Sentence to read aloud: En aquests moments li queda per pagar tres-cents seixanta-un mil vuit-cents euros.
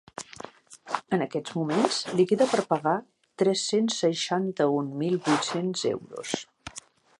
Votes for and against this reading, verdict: 0, 2, rejected